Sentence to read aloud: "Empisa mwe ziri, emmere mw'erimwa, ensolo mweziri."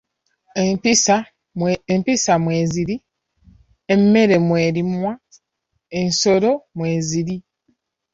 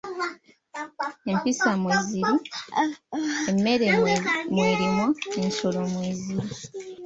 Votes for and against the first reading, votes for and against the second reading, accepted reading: 2, 1, 0, 2, first